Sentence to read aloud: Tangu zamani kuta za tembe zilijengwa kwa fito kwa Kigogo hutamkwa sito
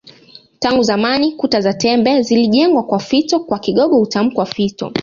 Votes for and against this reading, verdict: 0, 2, rejected